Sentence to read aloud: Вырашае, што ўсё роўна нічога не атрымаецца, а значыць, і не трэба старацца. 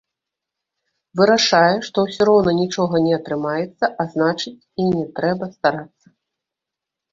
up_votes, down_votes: 0, 2